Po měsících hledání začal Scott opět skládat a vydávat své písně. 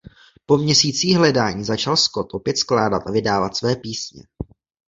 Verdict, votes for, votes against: accepted, 2, 0